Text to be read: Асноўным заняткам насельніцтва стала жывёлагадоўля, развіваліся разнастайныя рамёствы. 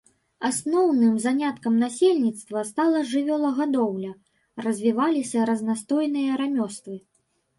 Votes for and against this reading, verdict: 0, 2, rejected